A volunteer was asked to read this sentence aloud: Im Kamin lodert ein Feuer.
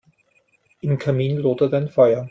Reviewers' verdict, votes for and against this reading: accepted, 2, 0